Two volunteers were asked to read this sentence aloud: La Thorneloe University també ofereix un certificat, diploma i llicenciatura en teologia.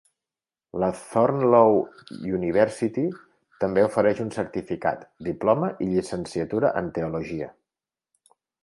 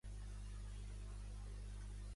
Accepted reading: first